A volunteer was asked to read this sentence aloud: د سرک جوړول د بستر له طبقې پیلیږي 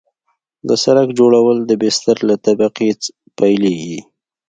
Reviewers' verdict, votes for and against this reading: accepted, 2, 0